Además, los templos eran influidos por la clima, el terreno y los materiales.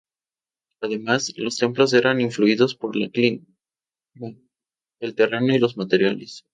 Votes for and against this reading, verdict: 0, 2, rejected